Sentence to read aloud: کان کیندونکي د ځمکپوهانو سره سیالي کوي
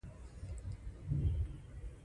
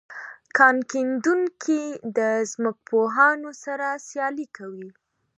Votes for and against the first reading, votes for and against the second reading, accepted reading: 0, 2, 3, 0, second